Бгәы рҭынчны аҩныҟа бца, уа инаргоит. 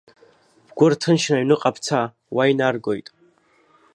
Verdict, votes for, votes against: accepted, 2, 0